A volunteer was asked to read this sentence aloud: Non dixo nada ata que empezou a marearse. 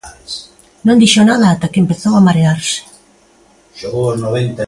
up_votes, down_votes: 1, 2